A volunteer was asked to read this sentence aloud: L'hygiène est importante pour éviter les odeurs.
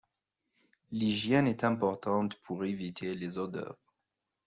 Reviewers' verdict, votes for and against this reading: accepted, 2, 0